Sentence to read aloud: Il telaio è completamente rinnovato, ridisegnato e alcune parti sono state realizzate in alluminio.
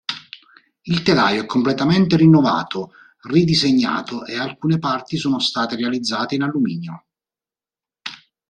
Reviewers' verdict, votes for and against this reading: accepted, 2, 0